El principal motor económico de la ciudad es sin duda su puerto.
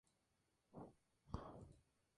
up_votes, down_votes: 0, 2